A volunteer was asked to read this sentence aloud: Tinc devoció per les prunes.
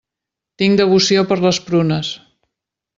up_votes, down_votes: 3, 0